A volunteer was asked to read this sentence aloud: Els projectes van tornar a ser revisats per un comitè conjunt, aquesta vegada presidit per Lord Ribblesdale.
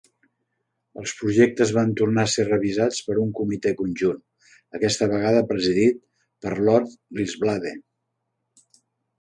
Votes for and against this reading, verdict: 2, 3, rejected